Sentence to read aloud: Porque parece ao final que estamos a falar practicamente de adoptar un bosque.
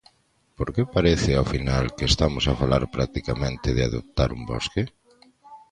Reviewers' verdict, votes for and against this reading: accepted, 2, 0